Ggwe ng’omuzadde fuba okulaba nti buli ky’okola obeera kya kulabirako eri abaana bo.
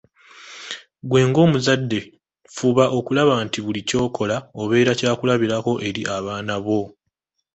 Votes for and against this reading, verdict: 2, 0, accepted